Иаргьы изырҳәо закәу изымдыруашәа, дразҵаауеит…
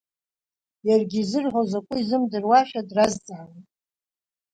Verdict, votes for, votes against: rejected, 1, 2